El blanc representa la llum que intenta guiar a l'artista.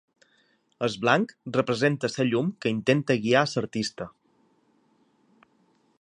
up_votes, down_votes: 1, 2